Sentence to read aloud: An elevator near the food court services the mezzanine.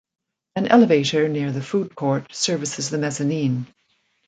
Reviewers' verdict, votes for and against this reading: accepted, 2, 0